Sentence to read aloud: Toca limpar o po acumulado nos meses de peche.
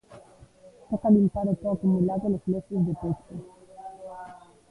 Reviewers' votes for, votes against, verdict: 1, 2, rejected